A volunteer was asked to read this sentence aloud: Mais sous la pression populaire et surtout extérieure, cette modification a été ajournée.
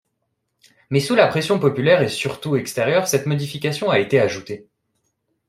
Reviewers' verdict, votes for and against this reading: rejected, 0, 2